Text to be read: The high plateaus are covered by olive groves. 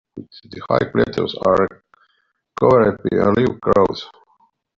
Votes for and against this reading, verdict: 1, 2, rejected